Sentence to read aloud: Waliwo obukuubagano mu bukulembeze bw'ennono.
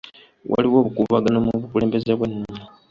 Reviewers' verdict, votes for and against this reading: accepted, 2, 0